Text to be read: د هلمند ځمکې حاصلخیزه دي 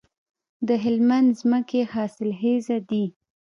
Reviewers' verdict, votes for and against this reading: accepted, 2, 0